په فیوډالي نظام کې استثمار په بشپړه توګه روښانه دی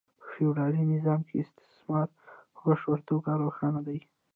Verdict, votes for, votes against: rejected, 0, 2